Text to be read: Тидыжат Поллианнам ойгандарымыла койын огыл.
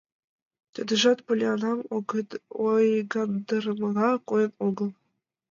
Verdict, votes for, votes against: rejected, 0, 2